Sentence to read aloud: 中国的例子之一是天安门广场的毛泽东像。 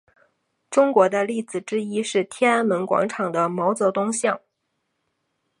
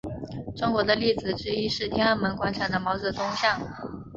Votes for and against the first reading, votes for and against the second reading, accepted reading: 2, 2, 3, 0, second